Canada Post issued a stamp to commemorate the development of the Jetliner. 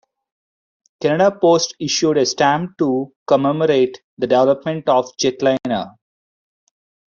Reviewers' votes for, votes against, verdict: 2, 0, accepted